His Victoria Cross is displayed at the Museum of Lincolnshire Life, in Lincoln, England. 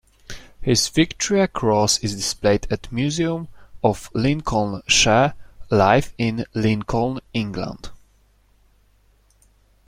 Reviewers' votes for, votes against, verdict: 0, 2, rejected